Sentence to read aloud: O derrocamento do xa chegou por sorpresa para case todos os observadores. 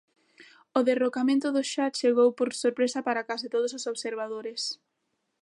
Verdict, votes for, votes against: rejected, 0, 2